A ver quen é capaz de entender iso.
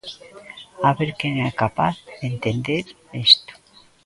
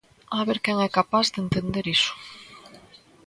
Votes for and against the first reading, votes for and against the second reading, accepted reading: 0, 2, 2, 0, second